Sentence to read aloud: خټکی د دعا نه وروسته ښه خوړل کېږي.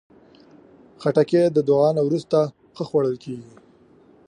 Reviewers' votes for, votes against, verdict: 2, 0, accepted